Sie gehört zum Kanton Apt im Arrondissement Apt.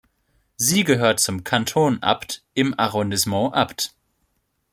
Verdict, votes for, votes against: rejected, 1, 2